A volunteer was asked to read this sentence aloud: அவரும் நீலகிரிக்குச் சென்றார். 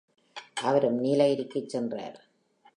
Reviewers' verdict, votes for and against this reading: accepted, 3, 2